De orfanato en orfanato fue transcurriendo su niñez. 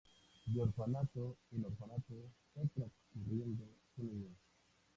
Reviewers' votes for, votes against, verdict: 2, 0, accepted